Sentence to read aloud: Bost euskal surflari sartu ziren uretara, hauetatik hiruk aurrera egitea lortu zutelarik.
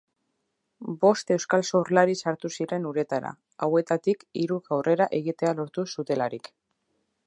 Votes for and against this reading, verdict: 2, 0, accepted